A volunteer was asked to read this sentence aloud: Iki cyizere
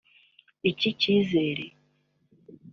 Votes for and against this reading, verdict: 1, 2, rejected